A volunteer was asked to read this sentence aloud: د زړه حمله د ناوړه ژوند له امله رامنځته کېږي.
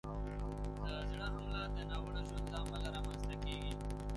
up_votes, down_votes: 0, 2